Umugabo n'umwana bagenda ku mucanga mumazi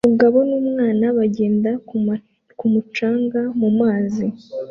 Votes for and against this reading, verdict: 1, 2, rejected